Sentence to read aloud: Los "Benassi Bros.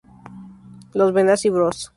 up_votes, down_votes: 2, 2